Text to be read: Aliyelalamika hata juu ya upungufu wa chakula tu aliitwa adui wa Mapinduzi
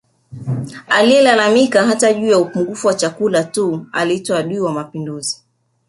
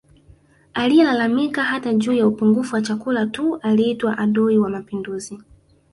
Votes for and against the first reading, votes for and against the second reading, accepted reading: 4, 1, 0, 2, first